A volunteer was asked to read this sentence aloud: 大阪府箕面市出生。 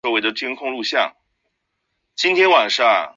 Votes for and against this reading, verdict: 2, 3, rejected